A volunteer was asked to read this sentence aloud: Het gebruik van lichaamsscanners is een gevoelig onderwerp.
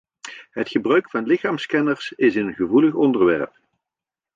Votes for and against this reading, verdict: 2, 0, accepted